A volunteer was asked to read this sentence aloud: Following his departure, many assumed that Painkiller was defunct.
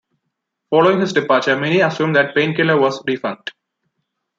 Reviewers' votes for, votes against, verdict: 1, 2, rejected